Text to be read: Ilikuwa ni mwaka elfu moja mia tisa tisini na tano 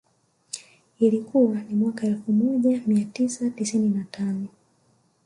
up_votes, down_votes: 1, 2